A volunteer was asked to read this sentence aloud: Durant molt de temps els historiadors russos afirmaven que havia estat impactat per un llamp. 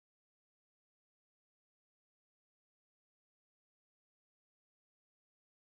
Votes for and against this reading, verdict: 0, 2, rejected